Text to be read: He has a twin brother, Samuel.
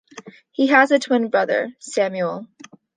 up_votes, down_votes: 1, 2